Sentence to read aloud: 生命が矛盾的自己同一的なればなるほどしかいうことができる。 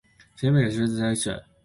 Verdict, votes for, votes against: rejected, 1, 2